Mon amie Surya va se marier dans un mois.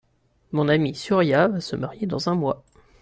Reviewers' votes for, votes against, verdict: 2, 1, accepted